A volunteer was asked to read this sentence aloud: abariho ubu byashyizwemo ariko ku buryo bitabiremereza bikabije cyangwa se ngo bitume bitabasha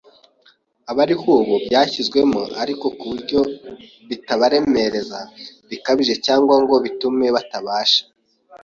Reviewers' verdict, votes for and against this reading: rejected, 0, 2